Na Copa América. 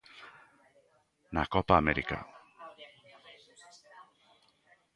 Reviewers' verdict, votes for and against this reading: accepted, 2, 0